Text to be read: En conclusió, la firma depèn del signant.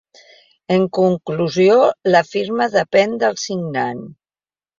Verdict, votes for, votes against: accepted, 2, 0